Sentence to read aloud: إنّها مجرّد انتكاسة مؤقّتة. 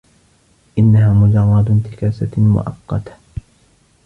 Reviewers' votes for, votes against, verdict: 1, 2, rejected